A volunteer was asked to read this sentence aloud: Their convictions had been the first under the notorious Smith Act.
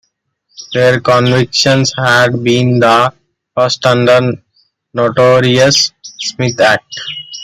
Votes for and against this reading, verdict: 2, 1, accepted